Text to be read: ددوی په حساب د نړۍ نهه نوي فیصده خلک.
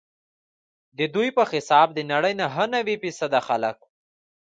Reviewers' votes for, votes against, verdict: 2, 0, accepted